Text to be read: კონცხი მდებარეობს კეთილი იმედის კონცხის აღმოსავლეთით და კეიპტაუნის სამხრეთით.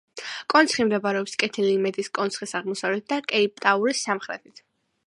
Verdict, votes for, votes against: accepted, 2, 1